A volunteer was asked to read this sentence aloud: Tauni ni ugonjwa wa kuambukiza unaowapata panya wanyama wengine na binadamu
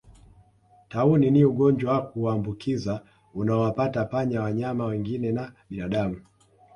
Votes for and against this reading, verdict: 3, 1, accepted